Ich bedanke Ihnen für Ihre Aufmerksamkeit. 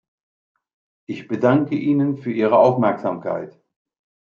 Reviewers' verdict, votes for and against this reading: accepted, 2, 0